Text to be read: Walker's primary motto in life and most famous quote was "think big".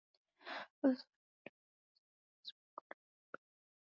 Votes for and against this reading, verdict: 2, 0, accepted